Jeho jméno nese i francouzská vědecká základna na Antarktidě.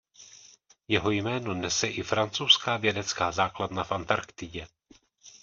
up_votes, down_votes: 1, 2